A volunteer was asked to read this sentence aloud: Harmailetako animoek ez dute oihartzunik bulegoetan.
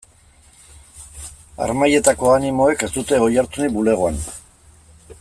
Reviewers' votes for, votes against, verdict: 0, 2, rejected